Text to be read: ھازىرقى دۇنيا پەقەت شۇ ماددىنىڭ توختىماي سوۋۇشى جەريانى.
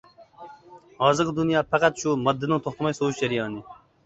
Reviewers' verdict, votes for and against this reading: accepted, 2, 1